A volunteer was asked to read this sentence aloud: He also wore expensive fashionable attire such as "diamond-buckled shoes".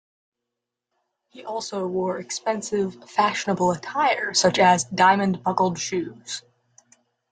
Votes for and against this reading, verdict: 2, 0, accepted